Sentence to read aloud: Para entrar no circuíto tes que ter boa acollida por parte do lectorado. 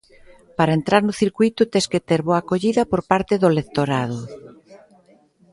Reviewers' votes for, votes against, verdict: 2, 1, accepted